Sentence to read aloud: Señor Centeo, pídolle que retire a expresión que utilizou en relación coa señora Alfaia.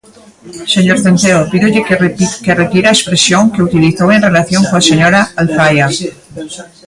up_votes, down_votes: 0, 2